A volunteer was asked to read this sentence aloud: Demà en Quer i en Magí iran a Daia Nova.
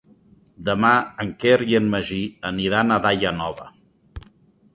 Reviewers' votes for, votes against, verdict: 1, 2, rejected